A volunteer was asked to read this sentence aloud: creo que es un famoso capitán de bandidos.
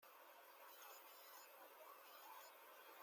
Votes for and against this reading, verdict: 0, 2, rejected